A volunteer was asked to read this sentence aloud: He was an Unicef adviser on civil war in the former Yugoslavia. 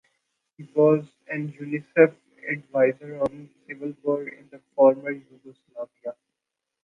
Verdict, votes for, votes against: rejected, 0, 2